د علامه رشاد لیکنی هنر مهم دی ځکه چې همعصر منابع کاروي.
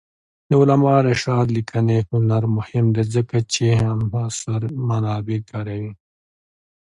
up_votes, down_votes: 2, 0